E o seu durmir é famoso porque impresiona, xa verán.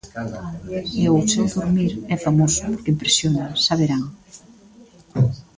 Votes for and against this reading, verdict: 1, 2, rejected